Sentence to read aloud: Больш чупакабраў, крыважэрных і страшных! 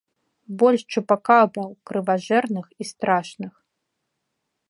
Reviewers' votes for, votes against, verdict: 0, 2, rejected